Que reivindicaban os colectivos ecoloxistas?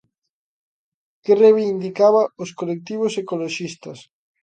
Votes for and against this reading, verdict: 0, 2, rejected